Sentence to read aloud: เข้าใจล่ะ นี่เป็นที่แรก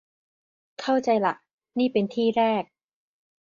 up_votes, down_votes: 2, 0